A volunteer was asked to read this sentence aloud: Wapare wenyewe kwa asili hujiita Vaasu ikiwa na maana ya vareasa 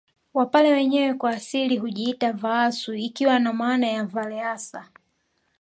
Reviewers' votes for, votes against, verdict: 2, 0, accepted